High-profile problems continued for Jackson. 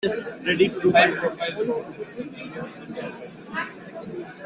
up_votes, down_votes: 0, 2